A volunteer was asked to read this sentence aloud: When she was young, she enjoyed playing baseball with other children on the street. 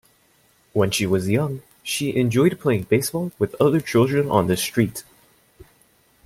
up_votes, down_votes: 2, 0